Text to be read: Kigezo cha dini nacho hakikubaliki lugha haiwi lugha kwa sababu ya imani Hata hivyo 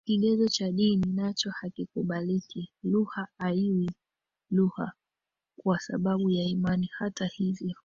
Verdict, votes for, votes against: accepted, 2, 1